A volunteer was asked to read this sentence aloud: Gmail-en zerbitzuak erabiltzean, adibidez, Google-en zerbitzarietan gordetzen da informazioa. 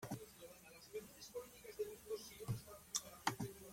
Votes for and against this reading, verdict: 0, 2, rejected